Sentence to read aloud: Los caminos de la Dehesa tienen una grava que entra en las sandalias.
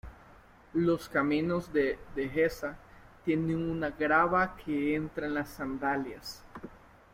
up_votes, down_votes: 0, 2